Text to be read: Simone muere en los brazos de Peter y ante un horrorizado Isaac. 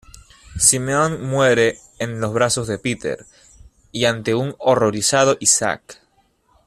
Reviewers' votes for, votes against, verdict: 2, 1, accepted